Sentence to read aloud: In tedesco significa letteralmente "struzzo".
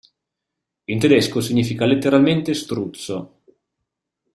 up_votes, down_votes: 2, 0